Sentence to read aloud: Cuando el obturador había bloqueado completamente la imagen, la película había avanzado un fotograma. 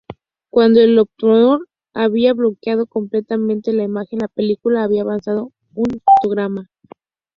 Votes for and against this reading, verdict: 0, 4, rejected